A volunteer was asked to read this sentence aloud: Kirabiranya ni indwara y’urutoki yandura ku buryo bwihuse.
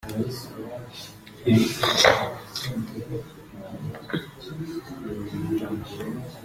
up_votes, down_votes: 0, 2